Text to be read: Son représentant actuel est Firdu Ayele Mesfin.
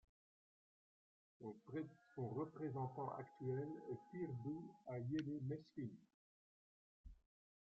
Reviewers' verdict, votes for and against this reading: rejected, 0, 2